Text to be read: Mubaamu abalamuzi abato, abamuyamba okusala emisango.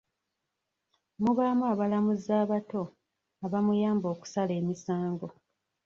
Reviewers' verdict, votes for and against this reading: rejected, 0, 2